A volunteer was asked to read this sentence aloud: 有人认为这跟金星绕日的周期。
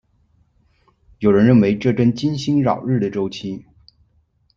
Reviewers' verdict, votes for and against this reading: accepted, 2, 1